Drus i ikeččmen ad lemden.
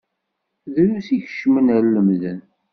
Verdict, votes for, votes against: rejected, 1, 2